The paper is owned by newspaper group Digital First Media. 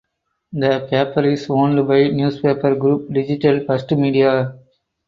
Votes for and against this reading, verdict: 2, 0, accepted